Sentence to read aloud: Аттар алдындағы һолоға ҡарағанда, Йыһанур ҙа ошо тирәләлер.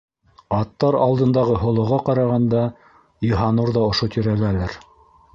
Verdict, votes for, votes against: rejected, 1, 2